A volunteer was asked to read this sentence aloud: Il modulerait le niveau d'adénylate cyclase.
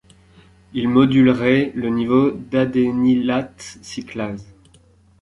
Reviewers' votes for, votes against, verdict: 2, 1, accepted